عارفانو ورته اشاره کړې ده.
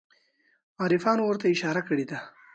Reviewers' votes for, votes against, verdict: 2, 0, accepted